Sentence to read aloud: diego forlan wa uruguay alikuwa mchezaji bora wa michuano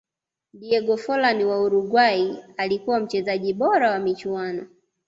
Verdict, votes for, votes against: accepted, 2, 0